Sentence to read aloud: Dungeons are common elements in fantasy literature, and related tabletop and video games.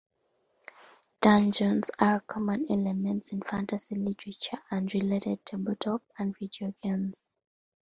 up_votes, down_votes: 2, 0